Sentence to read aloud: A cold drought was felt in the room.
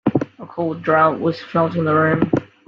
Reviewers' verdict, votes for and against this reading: accepted, 2, 0